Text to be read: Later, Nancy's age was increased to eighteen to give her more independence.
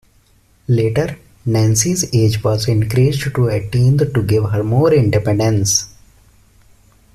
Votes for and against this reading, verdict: 2, 0, accepted